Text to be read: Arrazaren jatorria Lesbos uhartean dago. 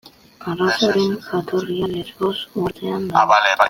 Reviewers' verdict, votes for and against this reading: rejected, 0, 2